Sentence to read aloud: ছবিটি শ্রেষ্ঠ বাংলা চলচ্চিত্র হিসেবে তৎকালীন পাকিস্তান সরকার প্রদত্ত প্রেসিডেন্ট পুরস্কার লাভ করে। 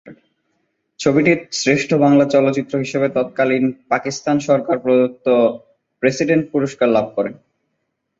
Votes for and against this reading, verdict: 5, 0, accepted